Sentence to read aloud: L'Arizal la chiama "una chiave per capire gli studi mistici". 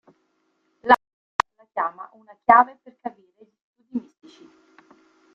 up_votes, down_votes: 0, 3